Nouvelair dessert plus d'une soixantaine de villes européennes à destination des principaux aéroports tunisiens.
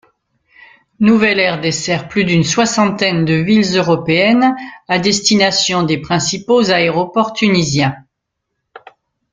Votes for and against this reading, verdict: 2, 0, accepted